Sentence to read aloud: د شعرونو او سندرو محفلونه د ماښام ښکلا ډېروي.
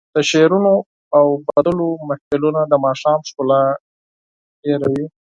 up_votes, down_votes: 4, 0